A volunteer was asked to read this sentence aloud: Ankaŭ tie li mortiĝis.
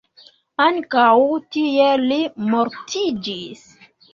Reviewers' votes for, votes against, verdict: 2, 0, accepted